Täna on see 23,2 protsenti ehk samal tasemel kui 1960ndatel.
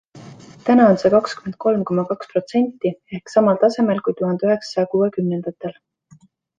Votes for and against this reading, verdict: 0, 2, rejected